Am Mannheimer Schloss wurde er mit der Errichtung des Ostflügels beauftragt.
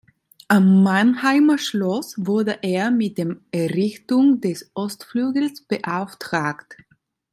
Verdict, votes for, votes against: rejected, 0, 2